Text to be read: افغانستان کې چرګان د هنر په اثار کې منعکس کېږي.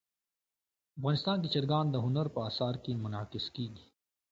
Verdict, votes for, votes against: accepted, 2, 0